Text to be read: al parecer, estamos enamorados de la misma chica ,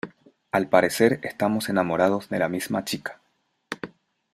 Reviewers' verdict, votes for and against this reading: accepted, 2, 0